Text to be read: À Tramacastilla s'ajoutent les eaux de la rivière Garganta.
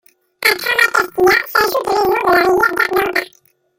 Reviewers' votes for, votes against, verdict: 0, 2, rejected